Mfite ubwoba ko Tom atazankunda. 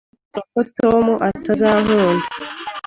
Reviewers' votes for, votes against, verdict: 1, 3, rejected